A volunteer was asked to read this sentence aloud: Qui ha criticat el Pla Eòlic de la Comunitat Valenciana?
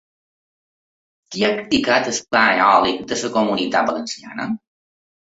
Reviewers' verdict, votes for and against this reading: rejected, 0, 2